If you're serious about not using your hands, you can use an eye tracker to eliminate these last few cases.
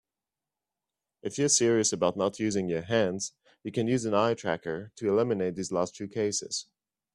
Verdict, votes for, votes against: accepted, 2, 0